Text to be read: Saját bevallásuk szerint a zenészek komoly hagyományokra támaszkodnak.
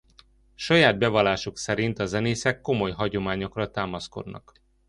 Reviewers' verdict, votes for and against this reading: accepted, 2, 0